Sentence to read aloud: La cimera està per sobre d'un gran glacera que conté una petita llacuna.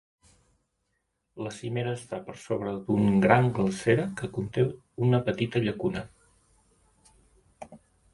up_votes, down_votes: 3, 0